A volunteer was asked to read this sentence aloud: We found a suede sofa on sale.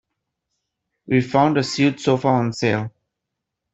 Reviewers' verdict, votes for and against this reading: rejected, 0, 2